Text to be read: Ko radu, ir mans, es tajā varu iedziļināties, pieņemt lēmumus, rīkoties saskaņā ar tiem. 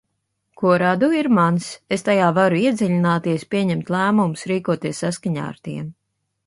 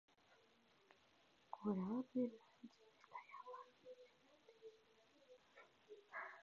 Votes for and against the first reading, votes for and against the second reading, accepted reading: 3, 0, 0, 2, first